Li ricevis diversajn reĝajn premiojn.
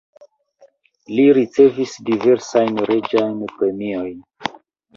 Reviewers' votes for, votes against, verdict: 0, 2, rejected